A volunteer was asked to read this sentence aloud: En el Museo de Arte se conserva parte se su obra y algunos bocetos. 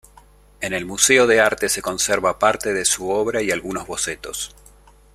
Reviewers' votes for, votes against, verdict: 2, 1, accepted